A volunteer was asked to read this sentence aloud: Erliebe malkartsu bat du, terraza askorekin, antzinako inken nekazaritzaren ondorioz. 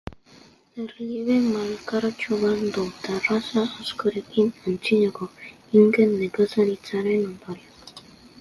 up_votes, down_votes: 2, 0